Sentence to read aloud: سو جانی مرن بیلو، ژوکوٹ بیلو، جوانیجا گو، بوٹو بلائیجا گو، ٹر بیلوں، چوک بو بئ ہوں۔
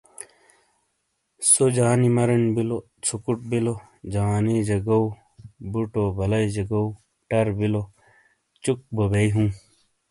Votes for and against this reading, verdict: 2, 0, accepted